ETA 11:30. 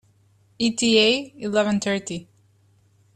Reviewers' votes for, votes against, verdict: 0, 2, rejected